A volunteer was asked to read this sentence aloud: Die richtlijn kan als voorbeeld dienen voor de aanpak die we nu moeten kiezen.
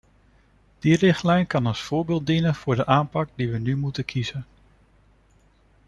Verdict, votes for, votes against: accepted, 2, 1